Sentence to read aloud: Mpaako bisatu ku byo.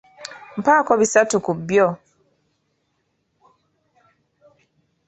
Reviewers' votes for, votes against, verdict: 2, 0, accepted